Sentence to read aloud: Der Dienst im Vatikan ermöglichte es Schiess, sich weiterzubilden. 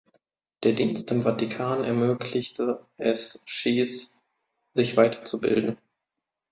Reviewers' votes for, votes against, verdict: 1, 2, rejected